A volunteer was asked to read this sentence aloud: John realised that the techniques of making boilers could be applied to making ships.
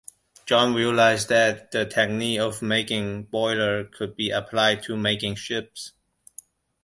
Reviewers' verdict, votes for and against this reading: rejected, 0, 2